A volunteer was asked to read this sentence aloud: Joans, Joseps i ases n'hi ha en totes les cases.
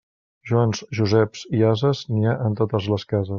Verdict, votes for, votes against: rejected, 1, 2